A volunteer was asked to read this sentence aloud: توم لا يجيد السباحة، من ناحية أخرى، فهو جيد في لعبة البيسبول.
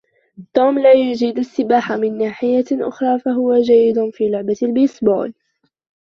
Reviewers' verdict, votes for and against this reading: rejected, 0, 2